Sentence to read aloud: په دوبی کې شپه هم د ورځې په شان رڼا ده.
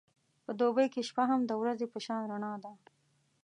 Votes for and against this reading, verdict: 2, 0, accepted